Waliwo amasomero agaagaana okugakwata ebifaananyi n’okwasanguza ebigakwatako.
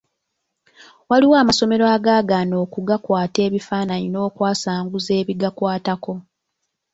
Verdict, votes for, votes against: accepted, 2, 0